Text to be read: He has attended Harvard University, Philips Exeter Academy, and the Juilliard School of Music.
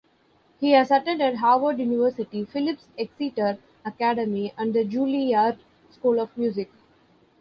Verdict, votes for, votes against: accepted, 2, 0